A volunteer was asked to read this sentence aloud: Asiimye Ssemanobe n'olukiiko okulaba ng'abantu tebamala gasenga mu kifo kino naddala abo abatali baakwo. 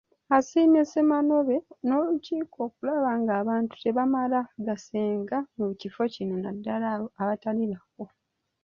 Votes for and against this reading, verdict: 2, 1, accepted